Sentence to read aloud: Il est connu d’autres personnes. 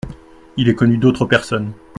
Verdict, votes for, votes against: accepted, 2, 0